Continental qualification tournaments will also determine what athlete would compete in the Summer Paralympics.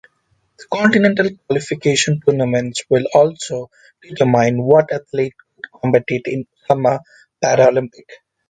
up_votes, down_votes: 0, 2